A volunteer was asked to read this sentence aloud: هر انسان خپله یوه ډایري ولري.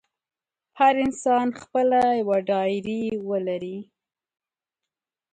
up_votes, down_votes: 2, 0